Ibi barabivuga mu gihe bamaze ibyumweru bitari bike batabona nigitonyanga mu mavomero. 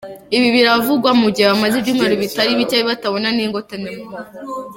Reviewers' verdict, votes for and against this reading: rejected, 1, 3